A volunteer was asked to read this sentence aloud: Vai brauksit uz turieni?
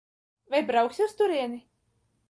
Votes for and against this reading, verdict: 1, 2, rejected